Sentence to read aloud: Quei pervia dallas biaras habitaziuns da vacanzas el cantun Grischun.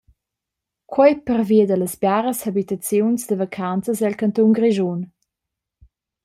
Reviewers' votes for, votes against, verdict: 2, 0, accepted